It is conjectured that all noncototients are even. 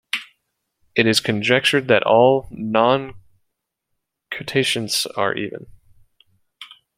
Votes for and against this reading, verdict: 1, 2, rejected